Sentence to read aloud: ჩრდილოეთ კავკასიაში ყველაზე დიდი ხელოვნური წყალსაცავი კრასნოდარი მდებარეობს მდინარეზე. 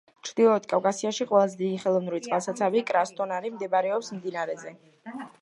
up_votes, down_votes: 2, 0